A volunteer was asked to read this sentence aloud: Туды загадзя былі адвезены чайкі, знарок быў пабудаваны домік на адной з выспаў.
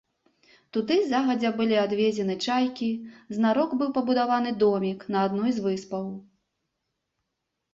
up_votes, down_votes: 2, 0